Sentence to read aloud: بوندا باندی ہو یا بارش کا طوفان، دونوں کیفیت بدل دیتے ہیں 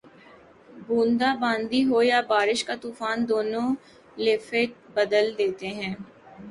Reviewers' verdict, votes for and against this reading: rejected, 2, 4